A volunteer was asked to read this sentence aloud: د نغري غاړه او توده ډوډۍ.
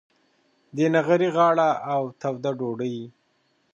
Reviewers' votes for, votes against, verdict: 2, 0, accepted